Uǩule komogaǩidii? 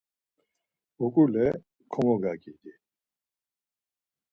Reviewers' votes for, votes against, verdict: 2, 4, rejected